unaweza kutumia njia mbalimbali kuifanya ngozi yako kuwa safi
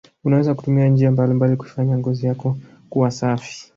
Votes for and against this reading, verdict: 1, 2, rejected